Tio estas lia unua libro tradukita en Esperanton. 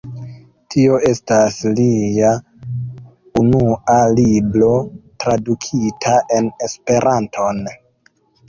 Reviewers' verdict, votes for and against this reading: rejected, 0, 2